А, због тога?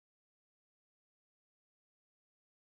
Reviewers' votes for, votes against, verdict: 0, 2, rejected